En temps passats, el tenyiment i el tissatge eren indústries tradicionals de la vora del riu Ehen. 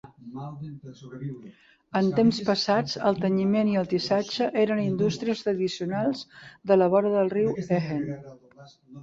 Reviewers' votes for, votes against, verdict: 2, 3, rejected